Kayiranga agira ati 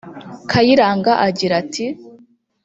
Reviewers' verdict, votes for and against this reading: rejected, 1, 2